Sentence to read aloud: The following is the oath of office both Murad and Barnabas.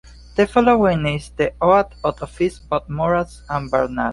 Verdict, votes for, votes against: rejected, 0, 2